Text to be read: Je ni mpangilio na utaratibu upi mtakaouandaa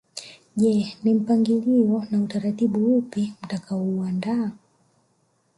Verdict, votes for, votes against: rejected, 0, 2